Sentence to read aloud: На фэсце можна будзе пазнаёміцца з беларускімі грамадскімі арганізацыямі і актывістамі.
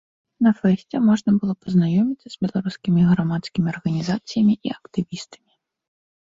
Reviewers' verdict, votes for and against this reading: rejected, 0, 2